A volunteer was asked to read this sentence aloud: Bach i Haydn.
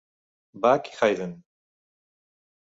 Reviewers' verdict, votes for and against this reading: accepted, 2, 0